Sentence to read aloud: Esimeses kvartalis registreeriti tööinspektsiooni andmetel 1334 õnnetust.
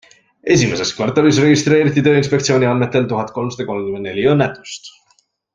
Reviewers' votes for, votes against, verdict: 0, 2, rejected